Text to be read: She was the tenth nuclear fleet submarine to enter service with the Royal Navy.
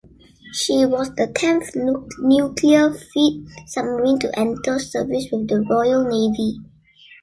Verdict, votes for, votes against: rejected, 0, 2